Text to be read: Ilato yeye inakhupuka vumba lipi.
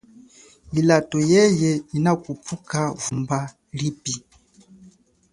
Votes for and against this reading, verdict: 3, 0, accepted